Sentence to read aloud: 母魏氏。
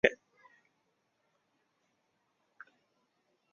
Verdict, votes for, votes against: rejected, 0, 2